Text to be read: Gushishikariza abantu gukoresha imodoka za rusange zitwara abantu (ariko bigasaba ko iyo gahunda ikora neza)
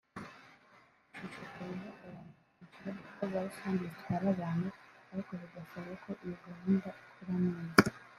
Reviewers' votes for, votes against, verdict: 2, 4, rejected